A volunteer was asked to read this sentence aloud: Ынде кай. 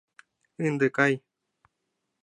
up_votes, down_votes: 2, 0